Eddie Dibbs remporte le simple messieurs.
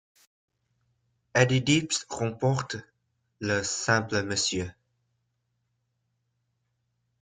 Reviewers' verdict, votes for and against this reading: rejected, 0, 2